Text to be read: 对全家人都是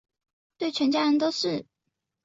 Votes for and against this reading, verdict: 4, 0, accepted